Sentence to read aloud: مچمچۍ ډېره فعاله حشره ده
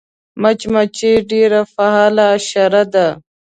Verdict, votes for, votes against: accepted, 2, 0